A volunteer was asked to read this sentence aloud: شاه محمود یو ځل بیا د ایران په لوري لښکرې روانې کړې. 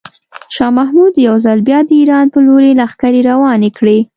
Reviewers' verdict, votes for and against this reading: accepted, 3, 0